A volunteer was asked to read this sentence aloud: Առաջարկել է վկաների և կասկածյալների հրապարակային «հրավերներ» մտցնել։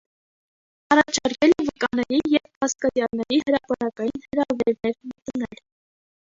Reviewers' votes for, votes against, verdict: 0, 2, rejected